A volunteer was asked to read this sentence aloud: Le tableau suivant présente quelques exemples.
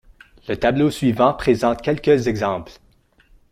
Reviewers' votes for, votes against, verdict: 1, 2, rejected